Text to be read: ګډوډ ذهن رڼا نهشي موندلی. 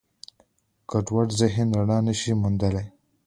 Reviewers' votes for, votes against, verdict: 2, 1, accepted